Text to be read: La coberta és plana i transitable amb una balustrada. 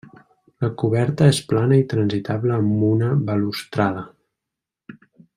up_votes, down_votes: 3, 1